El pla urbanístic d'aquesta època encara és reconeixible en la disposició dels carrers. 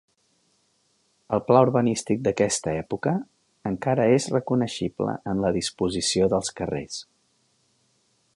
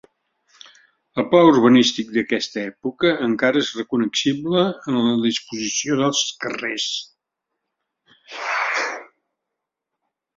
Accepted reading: first